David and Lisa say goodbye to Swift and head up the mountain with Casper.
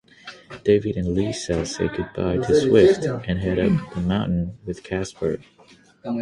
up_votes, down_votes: 0, 6